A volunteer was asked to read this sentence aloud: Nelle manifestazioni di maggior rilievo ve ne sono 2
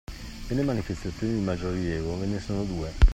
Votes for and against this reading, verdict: 0, 2, rejected